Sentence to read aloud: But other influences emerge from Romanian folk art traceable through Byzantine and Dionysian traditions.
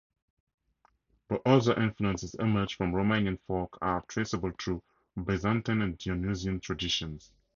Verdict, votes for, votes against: accepted, 4, 0